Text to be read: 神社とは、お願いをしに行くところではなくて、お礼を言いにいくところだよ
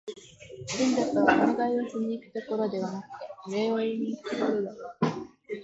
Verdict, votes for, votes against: accepted, 2, 1